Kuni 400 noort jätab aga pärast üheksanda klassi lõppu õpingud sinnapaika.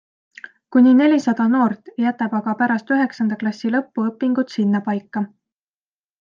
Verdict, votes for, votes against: rejected, 0, 2